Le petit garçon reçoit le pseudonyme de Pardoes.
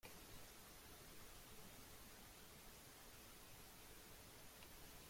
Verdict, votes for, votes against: rejected, 0, 2